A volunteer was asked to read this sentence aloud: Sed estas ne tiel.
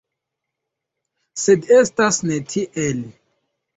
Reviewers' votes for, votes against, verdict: 0, 2, rejected